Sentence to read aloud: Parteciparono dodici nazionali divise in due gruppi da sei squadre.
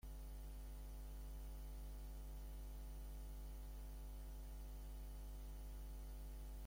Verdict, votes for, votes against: rejected, 0, 2